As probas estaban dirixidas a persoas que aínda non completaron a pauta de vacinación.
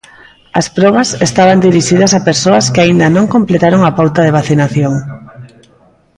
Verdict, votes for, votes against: rejected, 0, 2